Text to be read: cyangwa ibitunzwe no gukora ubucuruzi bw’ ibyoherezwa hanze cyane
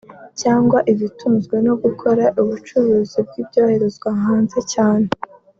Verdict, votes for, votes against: accepted, 2, 1